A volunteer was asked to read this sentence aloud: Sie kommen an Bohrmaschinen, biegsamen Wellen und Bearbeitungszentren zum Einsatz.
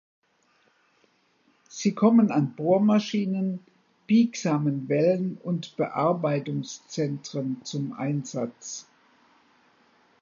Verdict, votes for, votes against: accepted, 2, 0